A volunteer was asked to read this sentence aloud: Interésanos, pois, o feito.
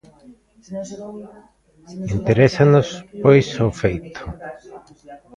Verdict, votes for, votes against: rejected, 1, 2